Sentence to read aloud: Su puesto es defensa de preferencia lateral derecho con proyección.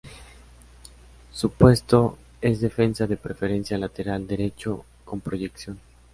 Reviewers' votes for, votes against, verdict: 2, 0, accepted